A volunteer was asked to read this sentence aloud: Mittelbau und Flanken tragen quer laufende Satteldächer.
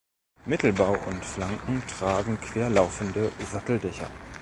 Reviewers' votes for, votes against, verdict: 1, 2, rejected